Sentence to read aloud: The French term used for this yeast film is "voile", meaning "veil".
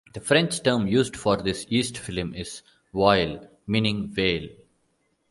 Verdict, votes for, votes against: rejected, 0, 2